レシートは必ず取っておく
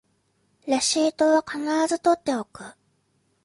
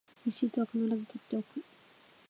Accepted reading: first